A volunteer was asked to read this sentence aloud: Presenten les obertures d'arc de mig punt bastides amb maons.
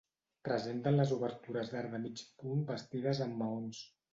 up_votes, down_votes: 2, 0